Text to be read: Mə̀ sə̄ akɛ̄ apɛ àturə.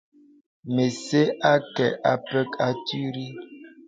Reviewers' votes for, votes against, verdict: 0, 2, rejected